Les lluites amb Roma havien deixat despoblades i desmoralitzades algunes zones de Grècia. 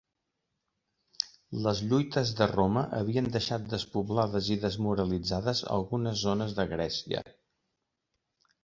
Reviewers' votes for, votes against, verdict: 1, 3, rejected